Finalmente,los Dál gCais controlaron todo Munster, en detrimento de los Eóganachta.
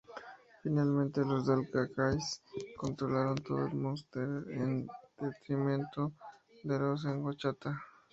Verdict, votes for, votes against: rejected, 0, 2